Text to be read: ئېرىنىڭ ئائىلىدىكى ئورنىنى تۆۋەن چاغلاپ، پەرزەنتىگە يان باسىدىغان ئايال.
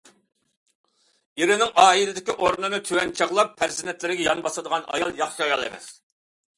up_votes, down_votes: 0, 2